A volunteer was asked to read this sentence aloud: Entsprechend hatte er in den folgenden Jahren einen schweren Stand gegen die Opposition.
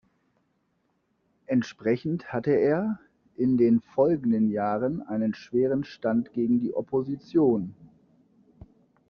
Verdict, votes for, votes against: accepted, 2, 0